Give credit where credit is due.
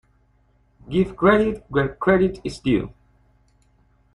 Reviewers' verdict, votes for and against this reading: accepted, 2, 0